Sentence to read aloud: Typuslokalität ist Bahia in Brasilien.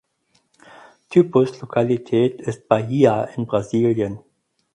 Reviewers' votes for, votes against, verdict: 4, 2, accepted